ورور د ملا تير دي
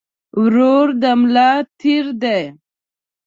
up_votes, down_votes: 2, 1